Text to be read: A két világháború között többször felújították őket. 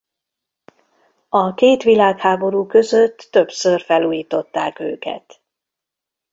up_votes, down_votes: 3, 0